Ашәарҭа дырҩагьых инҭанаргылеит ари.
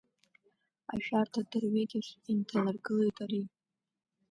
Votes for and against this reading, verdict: 2, 0, accepted